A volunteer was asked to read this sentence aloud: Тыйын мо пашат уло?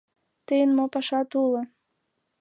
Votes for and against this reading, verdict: 2, 0, accepted